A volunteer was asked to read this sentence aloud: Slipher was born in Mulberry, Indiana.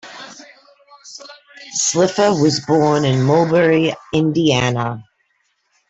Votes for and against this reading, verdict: 0, 2, rejected